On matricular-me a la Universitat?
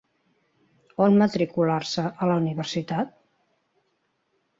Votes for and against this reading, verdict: 0, 2, rejected